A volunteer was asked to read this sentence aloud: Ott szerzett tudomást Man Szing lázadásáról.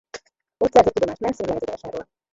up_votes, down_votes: 0, 2